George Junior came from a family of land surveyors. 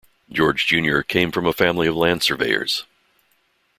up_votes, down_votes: 2, 0